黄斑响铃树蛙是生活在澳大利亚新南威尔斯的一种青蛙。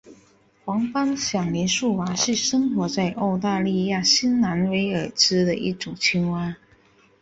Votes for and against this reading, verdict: 4, 0, accepted